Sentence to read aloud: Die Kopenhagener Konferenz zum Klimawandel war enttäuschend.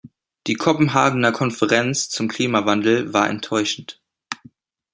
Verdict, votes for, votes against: accepted, 2, 0